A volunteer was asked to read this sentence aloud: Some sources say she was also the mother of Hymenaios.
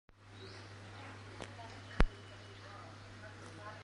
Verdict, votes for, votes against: rejected, 0, 2